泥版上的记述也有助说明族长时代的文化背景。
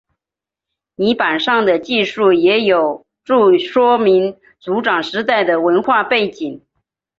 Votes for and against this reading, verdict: 2, 0, accepted